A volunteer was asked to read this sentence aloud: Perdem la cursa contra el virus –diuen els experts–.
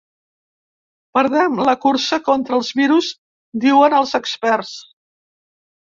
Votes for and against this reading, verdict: 1, 2, rejected